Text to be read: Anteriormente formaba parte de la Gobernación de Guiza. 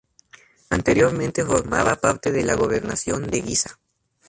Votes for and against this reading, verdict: 0, 2, rejected